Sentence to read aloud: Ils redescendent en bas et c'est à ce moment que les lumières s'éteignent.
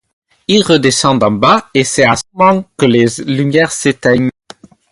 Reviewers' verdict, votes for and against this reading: rejected, 2, 2